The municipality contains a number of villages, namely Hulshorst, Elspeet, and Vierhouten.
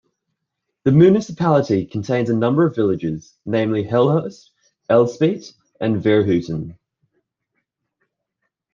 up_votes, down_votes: 2, 0